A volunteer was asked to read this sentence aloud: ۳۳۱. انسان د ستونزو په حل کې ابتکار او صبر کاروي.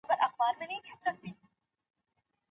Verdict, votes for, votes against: rejected, 0, 2